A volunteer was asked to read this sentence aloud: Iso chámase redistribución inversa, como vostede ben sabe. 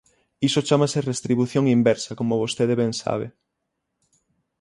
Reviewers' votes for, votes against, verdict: 3, 3, rejected